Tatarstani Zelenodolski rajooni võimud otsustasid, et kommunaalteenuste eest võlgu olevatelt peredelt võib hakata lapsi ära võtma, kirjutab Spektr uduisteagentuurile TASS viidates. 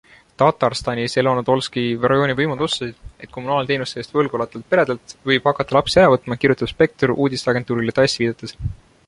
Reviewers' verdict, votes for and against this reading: accepted, 2, 0